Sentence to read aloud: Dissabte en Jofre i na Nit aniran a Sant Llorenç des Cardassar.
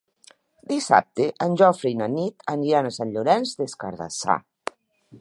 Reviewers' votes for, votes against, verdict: 2, 0, accepted